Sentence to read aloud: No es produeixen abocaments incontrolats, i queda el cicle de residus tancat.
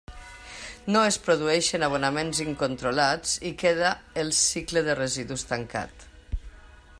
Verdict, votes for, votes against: rejected, 0, 2